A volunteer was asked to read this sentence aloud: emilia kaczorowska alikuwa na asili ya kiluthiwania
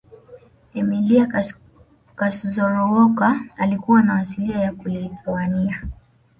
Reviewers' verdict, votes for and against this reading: rejected, 1, 2